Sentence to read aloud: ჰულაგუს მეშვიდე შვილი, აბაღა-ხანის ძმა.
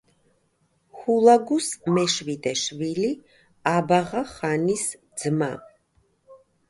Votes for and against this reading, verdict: 2, 0, accepted